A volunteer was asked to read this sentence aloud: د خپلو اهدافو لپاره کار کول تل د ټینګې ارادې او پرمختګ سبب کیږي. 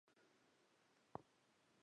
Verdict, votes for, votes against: rejected, 1, 2